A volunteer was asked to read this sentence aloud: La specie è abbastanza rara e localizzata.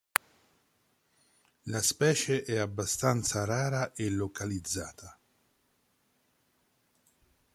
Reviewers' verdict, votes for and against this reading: accepted, 2, 0